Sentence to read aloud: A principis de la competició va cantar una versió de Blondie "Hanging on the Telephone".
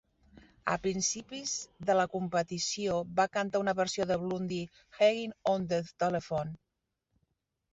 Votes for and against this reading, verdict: 0, 2, rejected